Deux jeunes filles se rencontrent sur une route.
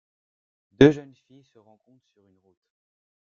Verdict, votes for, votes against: rejected, 0, 2